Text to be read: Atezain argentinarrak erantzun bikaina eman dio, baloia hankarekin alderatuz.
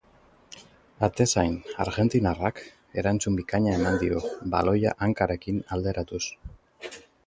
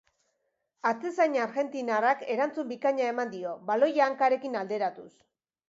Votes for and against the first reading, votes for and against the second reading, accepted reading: 2, 2, 2, 0, second